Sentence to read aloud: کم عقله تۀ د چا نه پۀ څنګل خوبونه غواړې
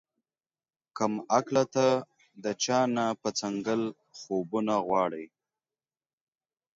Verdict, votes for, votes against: accepted, 2, 1